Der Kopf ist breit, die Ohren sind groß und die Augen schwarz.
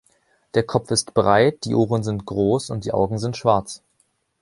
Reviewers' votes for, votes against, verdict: 1, 2, rejected